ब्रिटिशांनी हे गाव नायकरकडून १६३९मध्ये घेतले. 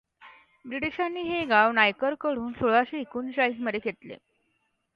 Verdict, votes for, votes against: rejected, 0, 2